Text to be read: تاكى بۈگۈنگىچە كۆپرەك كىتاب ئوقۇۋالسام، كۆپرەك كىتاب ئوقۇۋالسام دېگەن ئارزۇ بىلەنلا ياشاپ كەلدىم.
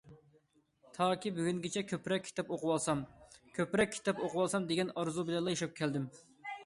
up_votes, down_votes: 2, 0